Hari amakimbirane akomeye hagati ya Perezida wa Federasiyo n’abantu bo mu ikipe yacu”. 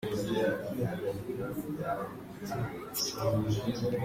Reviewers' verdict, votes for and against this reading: rejected, 0, 2